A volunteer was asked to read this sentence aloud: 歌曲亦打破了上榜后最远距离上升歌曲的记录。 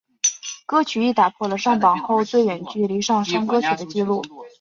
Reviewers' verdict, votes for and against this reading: accepted, 3, 0